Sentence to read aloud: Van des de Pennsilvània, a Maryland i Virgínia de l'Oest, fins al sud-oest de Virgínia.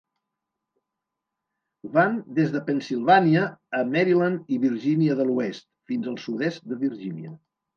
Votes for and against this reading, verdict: 1, 2, rejected